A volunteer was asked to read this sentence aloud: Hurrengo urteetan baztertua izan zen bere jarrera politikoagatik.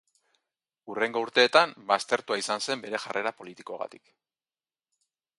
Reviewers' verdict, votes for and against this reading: accepted, 2, 0